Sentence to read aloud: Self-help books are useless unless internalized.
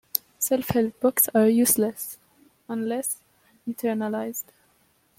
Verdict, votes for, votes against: accepted, 2, 0